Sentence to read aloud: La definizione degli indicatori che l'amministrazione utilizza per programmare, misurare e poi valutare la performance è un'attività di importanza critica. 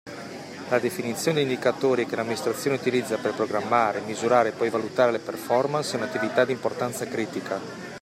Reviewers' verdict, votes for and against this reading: accepted, 2, 0